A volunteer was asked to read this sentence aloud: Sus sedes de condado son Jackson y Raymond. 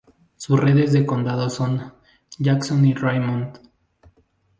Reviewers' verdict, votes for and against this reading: rejected, 0, 2